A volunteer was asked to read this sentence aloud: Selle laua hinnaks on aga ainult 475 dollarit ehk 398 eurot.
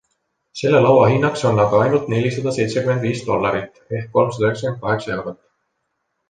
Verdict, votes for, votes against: rejected, 0, 2